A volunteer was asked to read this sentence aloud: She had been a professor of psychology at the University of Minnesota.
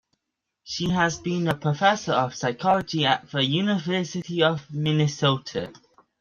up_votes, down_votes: 2, 1